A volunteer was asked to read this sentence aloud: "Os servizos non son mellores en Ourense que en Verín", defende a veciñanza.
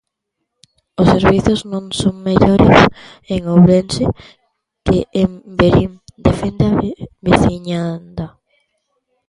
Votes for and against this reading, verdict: 0, 2, rejected